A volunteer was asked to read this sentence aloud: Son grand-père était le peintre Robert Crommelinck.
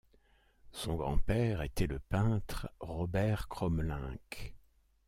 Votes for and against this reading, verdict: 2, 0, accepted